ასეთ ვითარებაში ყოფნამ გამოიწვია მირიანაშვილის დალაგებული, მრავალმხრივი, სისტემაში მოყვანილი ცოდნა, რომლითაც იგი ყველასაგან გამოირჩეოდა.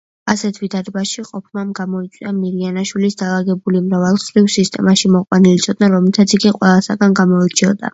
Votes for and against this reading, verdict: 2, 0, accepted